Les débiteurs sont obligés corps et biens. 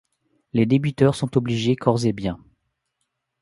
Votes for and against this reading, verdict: 2, 1, accepted